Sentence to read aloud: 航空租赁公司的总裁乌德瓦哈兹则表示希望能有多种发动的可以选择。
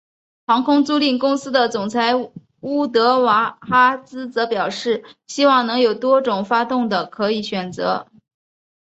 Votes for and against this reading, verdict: 2, 0, accepted